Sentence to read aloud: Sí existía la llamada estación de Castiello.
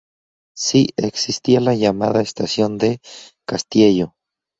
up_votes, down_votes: 0, 2